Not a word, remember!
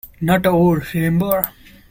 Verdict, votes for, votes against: rejected, 0, 2